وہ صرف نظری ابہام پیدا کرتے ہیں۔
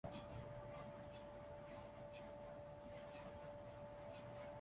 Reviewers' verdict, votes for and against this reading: rejected, 0, 2